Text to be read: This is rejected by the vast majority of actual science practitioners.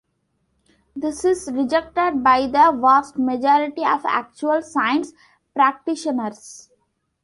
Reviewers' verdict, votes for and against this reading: accepted, 2, 0